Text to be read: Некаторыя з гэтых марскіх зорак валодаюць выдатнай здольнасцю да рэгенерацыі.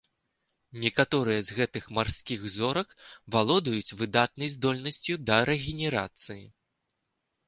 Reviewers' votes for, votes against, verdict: 2, 0, accepted